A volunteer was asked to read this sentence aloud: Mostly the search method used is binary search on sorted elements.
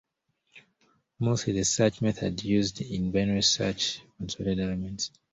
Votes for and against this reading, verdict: 0, 2, rejected